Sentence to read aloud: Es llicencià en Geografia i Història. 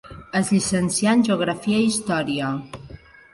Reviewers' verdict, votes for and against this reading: accepted, 2, 0